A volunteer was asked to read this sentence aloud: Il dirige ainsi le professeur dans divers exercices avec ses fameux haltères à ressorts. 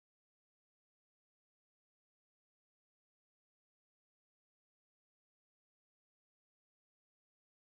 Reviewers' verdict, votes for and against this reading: rejected, 0, 2